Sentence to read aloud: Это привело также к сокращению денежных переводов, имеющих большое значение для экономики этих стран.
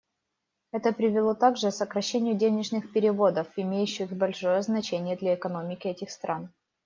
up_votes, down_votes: 1, 2